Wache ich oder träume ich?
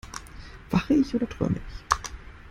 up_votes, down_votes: 2, 0